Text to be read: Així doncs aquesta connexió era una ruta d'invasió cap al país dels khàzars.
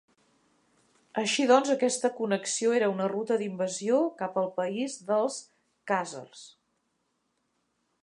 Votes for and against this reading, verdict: 2, 0, accepted